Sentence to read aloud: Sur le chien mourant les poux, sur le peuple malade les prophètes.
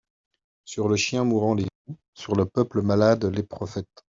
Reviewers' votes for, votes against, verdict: 0, 2, rejected